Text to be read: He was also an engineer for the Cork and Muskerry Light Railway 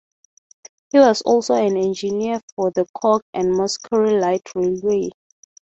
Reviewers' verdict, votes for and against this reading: rejected, 0, 3